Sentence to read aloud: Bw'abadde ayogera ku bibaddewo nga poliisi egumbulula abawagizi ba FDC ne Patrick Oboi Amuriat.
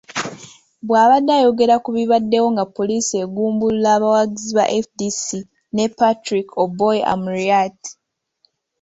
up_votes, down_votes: 2, 0